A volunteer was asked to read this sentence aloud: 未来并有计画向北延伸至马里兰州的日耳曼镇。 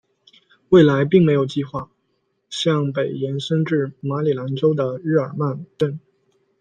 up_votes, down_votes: 1, 2